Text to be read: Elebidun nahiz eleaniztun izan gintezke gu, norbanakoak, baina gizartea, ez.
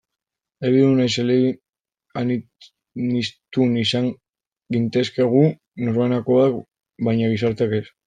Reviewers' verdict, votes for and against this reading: rejected, 0, 2